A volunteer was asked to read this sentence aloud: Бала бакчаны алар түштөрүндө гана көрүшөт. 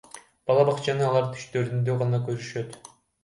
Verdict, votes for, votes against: rejected, 0, 2